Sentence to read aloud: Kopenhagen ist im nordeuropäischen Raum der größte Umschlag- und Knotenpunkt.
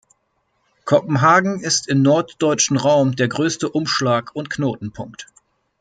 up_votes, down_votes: 1, 2